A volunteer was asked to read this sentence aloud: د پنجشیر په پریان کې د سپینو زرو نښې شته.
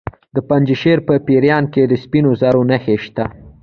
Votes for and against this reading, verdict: 2, 0, accepted